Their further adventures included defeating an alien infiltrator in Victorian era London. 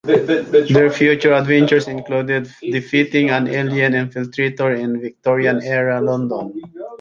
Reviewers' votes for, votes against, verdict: 1, 2, rejected